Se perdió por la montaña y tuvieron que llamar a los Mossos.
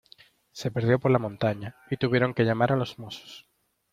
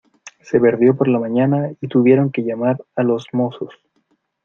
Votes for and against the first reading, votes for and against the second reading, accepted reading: 2, 0, 0, 2, first